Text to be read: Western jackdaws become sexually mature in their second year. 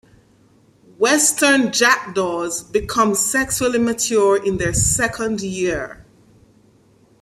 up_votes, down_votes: 2, 0